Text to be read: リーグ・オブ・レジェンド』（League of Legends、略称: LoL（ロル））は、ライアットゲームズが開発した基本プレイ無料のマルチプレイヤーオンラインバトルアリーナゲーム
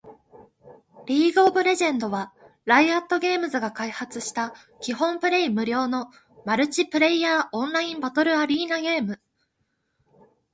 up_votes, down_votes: 2, 0